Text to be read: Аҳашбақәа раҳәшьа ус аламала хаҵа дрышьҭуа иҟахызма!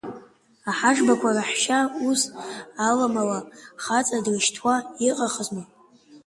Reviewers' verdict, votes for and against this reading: accepted, 2, 0